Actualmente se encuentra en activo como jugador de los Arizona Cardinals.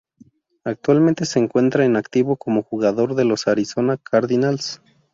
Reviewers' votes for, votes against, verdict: 2, 0, accepted